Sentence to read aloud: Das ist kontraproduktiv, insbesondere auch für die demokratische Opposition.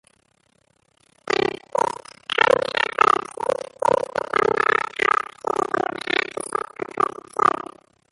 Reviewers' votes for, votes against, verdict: 0, 2, rejected